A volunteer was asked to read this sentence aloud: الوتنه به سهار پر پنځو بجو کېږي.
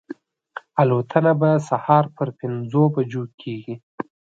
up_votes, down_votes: 2, 0